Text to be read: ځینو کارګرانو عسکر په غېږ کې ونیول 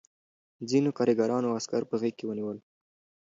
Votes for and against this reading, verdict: 2, 0, accepted